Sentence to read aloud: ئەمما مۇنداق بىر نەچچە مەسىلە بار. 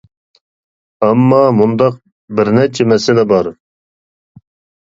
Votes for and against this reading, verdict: 3, 0, accepted